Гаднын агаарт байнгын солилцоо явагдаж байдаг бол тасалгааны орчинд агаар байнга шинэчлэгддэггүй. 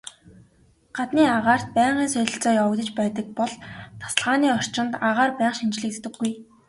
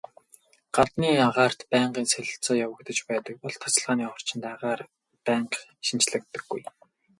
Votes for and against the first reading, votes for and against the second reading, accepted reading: 2, 0, 0, 2, first